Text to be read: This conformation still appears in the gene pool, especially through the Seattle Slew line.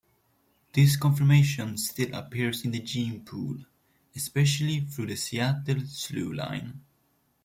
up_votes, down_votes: 1, 2